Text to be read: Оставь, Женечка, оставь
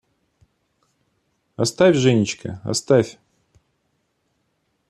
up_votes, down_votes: 2, 0